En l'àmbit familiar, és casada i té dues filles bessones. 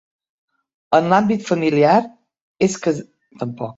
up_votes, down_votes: 0, 3